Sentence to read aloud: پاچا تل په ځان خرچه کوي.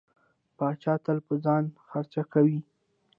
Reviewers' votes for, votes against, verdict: 1, 2, rejected